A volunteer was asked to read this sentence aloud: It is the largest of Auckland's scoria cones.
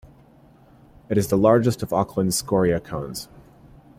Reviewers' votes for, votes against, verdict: 2, 0, accepted